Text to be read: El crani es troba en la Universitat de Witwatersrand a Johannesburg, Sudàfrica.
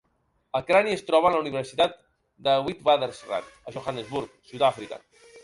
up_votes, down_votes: 3, 1